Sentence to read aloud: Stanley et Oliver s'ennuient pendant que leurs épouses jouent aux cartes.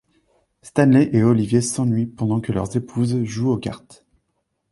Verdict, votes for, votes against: rejected, 1, 2